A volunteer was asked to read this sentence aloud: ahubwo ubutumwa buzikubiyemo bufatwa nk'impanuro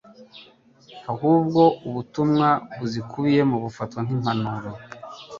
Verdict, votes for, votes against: accepted, 2, 0